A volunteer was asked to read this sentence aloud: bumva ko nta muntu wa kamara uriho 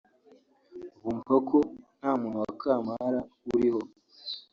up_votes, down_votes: 1, 2